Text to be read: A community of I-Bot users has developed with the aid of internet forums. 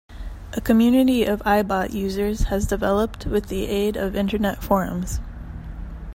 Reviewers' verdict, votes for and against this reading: accepted, 2, 0